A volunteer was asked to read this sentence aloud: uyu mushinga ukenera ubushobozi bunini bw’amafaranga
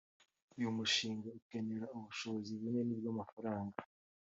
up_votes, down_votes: 2, 0